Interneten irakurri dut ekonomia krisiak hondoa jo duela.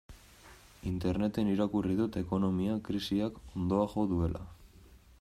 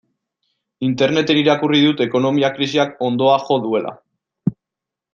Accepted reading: second